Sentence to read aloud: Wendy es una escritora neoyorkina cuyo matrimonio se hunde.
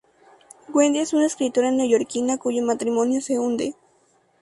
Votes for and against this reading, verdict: 2, 0, accepted